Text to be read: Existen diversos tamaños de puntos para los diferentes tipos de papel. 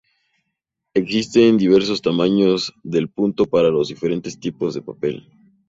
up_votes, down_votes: 2, 2